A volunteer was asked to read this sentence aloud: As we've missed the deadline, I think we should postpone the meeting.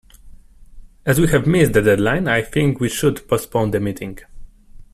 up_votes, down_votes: 2, 1